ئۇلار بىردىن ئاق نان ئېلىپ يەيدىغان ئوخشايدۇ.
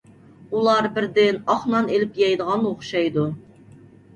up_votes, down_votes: 2, 0